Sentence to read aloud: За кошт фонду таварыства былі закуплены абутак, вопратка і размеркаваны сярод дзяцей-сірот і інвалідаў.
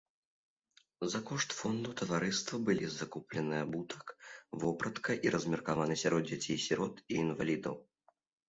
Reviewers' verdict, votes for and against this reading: accepted, 3, 0